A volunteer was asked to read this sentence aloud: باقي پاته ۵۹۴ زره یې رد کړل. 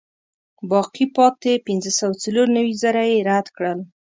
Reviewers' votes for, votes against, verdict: 0, 2, rejected